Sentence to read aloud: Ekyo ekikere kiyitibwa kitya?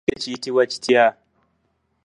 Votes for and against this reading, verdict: 0, 2, rejected